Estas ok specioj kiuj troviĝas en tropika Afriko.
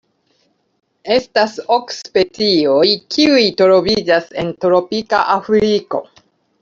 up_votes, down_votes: 2, 0